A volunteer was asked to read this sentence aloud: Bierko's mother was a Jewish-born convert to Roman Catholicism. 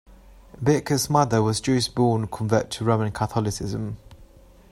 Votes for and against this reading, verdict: 1, 2, rejected